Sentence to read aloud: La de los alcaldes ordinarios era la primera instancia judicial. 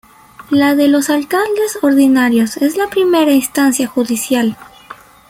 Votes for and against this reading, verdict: 1, 2, rejected